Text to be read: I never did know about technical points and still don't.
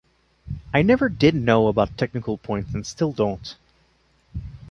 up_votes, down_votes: 2, 0